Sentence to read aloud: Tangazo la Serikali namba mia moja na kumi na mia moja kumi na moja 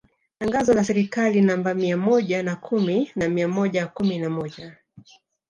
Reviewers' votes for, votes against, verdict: 1, 2, rejected